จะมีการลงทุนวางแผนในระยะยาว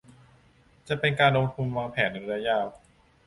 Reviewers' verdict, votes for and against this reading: rejected, 0, 2